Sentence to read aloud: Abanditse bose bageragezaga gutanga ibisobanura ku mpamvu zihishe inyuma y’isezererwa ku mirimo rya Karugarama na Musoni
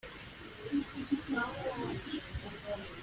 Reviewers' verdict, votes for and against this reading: rejected, 0, 2